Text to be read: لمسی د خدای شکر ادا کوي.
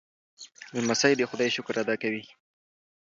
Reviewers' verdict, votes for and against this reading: accepted, 2, 0